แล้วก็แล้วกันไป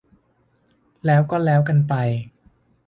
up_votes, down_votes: 3, 0